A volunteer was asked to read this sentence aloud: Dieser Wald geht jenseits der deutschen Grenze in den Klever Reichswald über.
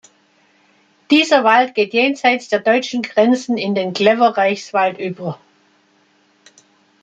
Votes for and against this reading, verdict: 1, 2, rejected